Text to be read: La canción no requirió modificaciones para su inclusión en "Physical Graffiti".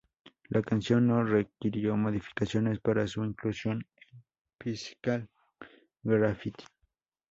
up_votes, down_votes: 0, 2